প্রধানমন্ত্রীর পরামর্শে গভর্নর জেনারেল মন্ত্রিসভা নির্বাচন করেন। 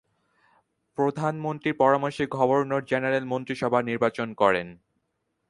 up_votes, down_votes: 4, 0